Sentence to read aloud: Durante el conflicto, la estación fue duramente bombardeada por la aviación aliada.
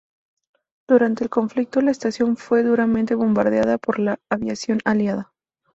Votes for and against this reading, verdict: 2, 0, accepted